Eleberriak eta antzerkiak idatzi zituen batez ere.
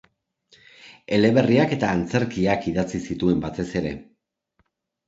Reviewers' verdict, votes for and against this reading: accepted, 2, 0